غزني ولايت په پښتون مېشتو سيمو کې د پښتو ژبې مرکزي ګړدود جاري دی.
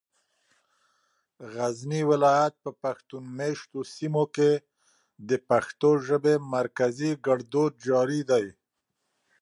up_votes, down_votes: 2, 0